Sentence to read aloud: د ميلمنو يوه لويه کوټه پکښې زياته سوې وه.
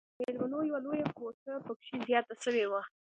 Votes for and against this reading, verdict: 2, 1, accepted